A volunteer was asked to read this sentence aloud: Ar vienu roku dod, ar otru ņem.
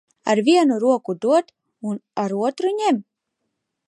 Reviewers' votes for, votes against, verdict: 0, 2, rejected